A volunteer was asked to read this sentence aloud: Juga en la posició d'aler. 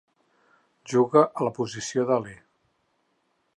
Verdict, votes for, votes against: rejected, 2, 4